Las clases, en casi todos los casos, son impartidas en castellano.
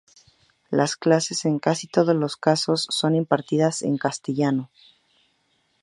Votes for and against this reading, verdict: 2, 0, accepted